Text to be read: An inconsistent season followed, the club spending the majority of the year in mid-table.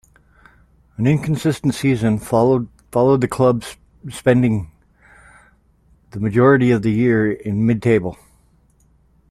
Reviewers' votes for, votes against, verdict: 0, 2, rejected